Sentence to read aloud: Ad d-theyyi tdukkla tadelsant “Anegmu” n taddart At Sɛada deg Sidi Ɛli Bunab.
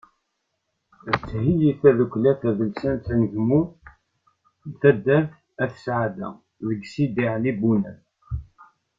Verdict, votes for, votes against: accepted, 2, 1